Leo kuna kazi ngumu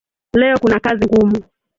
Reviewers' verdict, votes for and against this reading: rejected, 0, 2